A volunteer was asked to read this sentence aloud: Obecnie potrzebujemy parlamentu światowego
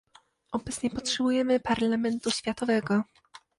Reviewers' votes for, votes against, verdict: 2, 0, accepted